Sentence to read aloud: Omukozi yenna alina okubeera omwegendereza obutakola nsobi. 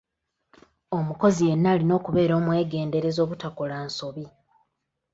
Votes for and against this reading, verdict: 2, 1, accepted